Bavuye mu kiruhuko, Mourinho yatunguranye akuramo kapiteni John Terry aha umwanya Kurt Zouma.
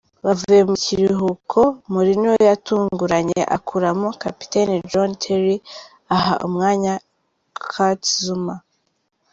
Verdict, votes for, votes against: accepted, 3, 0